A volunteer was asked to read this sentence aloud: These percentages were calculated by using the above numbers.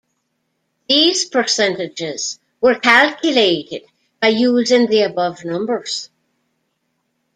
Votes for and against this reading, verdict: 0, 2, rejected